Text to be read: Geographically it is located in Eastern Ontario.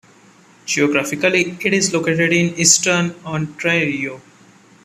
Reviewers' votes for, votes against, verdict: 1, 2, rejected